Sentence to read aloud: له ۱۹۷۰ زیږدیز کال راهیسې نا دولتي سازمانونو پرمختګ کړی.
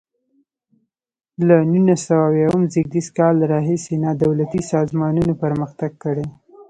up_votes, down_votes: 0, 2